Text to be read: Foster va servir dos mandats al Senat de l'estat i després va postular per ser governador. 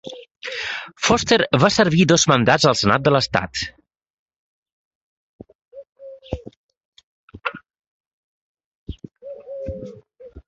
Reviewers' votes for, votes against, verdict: 0, 2, rejected